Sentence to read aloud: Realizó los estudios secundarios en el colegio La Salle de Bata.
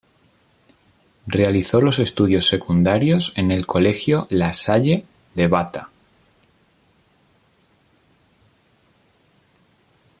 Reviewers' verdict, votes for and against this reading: accepted, 2, 0